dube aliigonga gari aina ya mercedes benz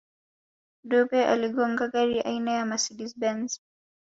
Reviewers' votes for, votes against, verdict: 2, 1, accepted